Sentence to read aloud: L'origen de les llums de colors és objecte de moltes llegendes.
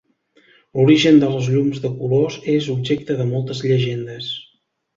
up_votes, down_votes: 3, 0